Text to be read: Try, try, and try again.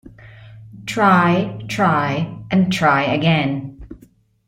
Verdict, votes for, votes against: accepted, 2, 0